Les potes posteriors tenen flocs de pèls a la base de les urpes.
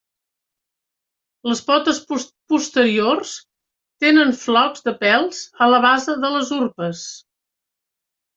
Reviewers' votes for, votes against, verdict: 1, 2, rejected